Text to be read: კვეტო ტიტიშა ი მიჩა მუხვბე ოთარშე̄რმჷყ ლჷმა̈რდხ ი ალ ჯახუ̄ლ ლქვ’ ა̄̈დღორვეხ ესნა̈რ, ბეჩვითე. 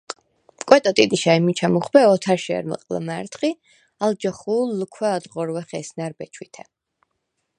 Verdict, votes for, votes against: accepted, 4, 0